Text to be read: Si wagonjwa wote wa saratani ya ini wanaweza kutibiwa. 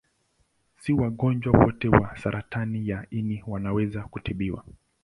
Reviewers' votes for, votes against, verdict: 2, 0, accepted